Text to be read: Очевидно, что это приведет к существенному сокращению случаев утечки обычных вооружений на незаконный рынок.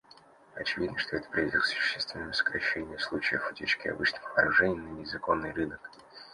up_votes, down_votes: 1, 2